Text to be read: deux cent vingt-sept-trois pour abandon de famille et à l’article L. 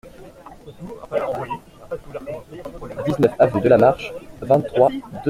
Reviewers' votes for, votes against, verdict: 0, 2, rejected